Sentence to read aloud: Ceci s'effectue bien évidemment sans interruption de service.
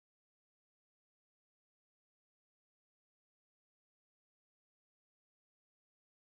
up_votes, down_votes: 0, 2